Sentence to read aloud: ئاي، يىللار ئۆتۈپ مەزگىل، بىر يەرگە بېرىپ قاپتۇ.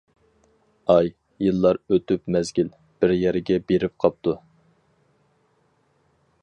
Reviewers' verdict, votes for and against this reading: accepted, 4, 0